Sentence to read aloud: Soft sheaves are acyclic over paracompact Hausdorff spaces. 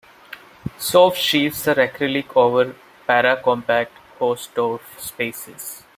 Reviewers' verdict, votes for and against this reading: rejected, 1, 2